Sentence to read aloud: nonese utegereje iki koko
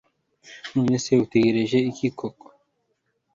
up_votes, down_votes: 3, 0